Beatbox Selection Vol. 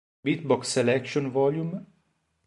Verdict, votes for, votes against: rejected, 1, 2